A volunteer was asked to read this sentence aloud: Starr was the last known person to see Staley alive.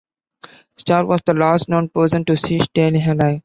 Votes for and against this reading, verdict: 2, 0, accepted